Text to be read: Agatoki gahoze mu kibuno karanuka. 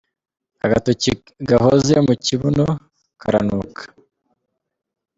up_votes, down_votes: 0, 2